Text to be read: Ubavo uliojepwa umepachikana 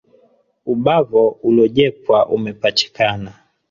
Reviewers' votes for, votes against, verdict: 3, 1, accepted